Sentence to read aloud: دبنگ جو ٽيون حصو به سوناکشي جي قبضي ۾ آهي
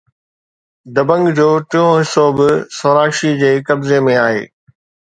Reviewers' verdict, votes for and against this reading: accepted, 2, 0